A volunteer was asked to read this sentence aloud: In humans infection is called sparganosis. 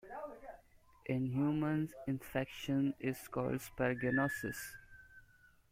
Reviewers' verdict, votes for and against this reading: rejected, 1, 2